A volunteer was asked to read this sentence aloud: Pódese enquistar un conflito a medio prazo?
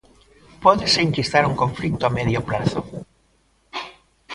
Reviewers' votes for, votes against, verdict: 2, 0, accepted